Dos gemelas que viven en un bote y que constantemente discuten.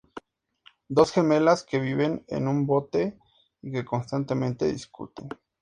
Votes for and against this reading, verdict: 4, 0, accepted